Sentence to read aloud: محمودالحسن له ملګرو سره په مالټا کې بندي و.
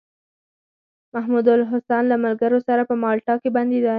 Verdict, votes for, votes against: rejected, 0, 4